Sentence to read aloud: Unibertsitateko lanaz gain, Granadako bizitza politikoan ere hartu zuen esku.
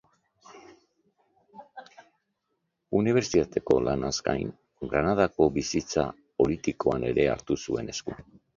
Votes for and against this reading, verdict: 3, 1, accepted